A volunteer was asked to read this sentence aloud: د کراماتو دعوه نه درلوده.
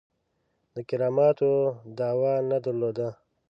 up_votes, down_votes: 2, 0